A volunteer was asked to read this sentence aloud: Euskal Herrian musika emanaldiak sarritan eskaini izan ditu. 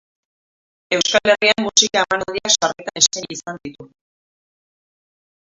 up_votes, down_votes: 0, 2